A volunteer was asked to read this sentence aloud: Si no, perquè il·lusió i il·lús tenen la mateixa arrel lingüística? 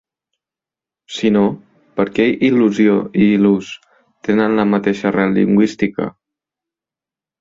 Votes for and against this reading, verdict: 0, 2, rejected